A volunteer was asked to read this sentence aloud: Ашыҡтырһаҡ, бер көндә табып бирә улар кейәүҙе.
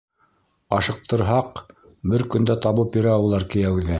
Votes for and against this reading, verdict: 2, 0, accepted